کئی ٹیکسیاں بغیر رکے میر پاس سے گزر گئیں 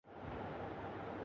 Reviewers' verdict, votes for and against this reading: rejected, 0, 2